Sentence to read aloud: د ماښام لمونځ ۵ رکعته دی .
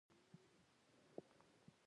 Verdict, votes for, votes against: rejected, 0, 2